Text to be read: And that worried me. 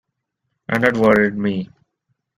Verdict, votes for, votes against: accepted, 2, 1